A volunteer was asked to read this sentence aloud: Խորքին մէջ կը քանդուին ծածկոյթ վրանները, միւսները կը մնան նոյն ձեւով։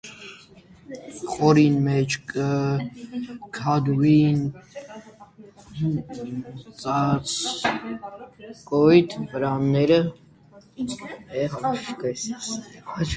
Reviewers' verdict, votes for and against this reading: rejected, 0, 2